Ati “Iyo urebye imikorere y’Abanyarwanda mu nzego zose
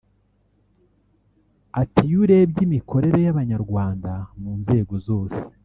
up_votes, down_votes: 1, 2